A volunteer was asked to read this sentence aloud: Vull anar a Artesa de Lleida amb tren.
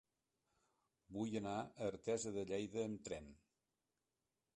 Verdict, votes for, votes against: accepted, 2, 0